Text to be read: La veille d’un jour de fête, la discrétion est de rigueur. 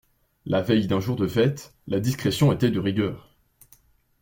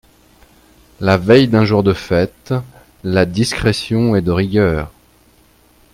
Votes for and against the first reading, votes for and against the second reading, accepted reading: 0, 2, 2, 0, second